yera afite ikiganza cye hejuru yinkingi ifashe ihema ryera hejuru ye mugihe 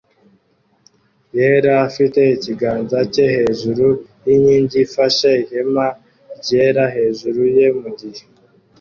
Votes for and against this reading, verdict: 2, 0, accepted